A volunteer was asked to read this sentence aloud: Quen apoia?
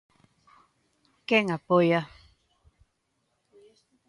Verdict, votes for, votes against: accepted, 2, 0